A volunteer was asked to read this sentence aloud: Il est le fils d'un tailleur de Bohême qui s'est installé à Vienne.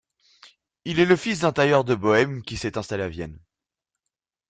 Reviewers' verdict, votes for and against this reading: rejected, 1, 2